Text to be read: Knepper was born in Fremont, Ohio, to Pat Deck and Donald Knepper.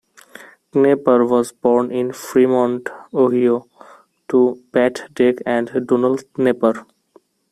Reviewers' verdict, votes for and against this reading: rejected, 1, 2